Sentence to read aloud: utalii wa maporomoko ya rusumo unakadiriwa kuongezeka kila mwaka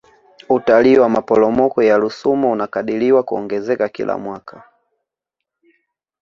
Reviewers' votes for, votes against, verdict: 3, 0, accepted